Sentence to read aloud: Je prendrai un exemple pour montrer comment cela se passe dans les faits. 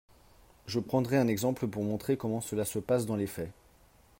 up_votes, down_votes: 3, 0